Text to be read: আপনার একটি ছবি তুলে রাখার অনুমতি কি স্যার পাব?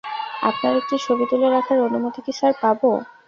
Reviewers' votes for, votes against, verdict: 0, 2, rejected